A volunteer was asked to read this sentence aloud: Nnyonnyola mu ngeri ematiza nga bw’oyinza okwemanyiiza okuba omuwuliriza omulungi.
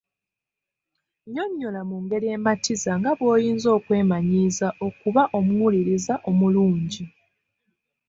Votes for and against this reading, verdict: 2, 0, accepted